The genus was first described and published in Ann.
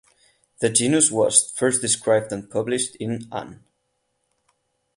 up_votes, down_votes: 4, 4